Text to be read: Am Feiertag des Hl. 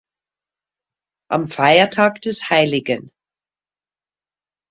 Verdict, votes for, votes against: rejected, 1, 2